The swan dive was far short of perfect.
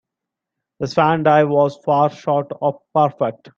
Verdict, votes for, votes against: rejected, 1, 3